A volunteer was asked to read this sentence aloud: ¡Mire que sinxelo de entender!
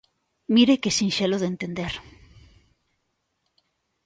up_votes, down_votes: 2, 0